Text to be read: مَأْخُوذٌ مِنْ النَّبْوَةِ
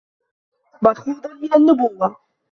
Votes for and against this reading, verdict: 0, 2, rejected